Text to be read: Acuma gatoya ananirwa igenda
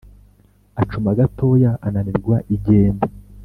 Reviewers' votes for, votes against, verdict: 3, 0, accepted